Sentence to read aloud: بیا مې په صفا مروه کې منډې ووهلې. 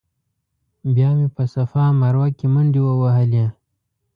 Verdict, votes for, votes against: accepted, 2, 0